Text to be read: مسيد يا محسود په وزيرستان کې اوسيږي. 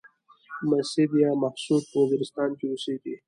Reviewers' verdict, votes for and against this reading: rejected, 1, 2